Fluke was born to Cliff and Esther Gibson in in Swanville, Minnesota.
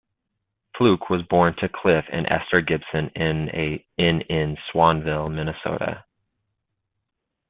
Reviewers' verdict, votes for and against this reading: rejected, 1, 2